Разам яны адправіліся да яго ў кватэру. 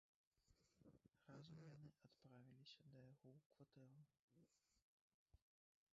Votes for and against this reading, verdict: 1, 2, rejected